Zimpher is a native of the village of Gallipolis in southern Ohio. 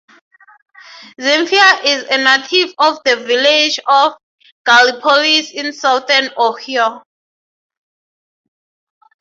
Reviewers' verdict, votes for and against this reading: rejected, 0, 18